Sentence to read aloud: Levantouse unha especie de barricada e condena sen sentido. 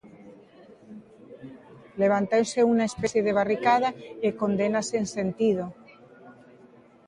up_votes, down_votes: 1, 2